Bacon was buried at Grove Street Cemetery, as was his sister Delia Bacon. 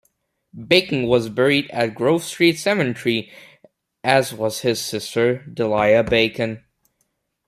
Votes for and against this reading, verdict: 2, 1, accepted